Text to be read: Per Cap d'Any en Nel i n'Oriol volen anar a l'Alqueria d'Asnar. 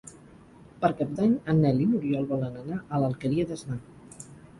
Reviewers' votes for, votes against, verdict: 4, 0, accepted